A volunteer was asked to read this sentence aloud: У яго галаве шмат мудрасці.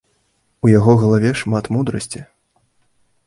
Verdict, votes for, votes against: accepted, 2, 0